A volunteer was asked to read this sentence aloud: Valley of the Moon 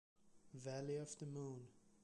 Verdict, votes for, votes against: accepted, 2, 0